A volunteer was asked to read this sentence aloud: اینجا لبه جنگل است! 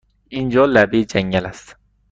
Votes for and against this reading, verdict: 2, 0, accepted